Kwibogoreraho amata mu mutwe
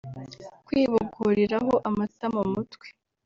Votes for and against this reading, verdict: 1, 2, rejected